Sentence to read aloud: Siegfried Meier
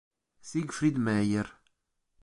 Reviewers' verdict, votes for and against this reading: accepted, 2, 0